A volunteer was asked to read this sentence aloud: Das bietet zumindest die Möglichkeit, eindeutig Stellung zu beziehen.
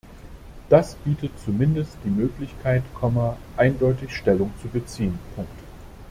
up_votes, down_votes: 0, 2